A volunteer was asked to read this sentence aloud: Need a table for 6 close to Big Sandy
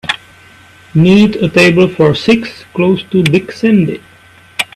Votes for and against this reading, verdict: 0, 2, rejected